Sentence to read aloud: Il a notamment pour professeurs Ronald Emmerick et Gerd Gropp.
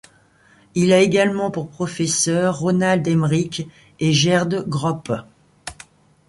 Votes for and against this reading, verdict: 1, 2, rejected